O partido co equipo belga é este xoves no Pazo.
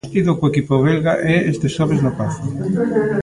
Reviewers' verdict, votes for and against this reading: rejected, 1, 2